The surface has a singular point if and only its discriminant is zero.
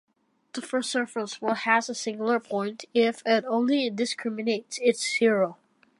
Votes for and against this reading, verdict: 1, 2, rejected